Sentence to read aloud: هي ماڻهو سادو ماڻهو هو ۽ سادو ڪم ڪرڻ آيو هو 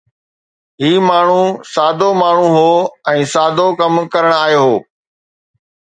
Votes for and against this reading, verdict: 2, 0, accepted